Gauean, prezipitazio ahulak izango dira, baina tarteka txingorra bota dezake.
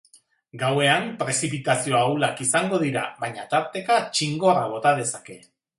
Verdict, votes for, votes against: accepted, 3, 0